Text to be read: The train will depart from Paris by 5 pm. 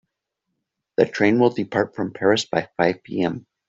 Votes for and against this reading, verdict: 0, 2, rejected